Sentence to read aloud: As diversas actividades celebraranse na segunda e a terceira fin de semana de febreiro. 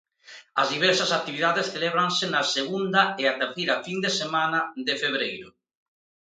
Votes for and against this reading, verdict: 0, 2, rejected